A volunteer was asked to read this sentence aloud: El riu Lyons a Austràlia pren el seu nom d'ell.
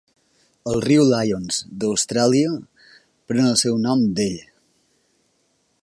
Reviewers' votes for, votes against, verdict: 1, 2, rejected